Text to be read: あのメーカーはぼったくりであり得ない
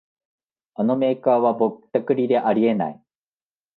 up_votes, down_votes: 10, 0